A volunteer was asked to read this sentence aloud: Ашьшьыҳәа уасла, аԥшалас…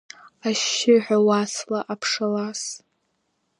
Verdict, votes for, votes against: accepted, 4, 0